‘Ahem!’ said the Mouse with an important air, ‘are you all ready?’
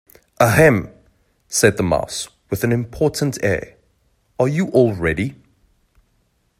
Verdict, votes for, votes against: accepted, 2, 0